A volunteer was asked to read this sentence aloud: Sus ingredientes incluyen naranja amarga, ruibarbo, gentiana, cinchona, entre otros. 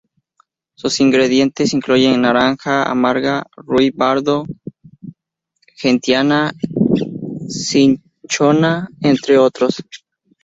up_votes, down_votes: 0, 2